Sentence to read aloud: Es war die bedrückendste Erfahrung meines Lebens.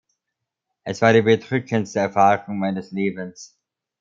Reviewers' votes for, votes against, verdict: 1, 2, rejected